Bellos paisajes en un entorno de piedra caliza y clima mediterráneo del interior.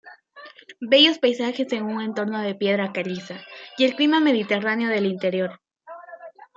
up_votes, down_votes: 0, 2